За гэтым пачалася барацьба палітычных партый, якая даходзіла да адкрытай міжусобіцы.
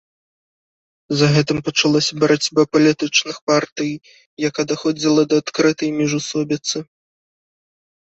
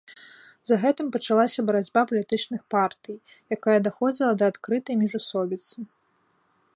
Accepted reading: second